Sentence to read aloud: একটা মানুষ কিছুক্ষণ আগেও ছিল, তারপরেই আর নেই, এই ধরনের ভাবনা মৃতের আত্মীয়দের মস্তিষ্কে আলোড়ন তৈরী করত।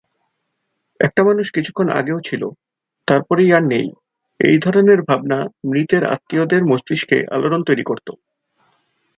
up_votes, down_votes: 6, 0